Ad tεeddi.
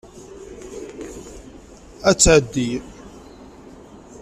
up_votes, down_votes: 1, 2